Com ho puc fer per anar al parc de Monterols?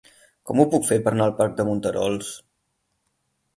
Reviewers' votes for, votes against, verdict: 10, 0, accepted